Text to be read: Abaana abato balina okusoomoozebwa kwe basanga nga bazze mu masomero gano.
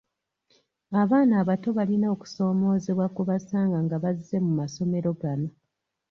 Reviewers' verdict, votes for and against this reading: accepted, 2, 1